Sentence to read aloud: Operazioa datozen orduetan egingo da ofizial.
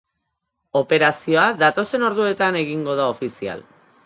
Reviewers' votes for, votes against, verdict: 2, 0, accepted